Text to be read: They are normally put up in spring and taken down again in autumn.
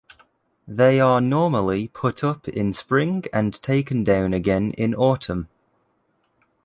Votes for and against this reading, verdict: 2, 0, accepted